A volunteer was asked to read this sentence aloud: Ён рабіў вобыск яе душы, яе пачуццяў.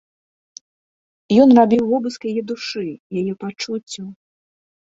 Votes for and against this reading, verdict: 3, 0, accepted